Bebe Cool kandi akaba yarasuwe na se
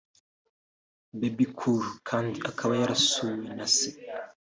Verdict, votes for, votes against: rejected, 1, 2